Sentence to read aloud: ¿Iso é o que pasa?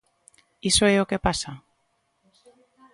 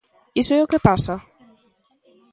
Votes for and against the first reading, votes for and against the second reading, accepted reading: 2, 0, 1, 2, first